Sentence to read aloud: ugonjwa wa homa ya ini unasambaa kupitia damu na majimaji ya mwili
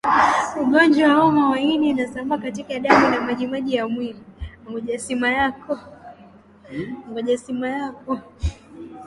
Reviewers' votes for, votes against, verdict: 3, 11, rejected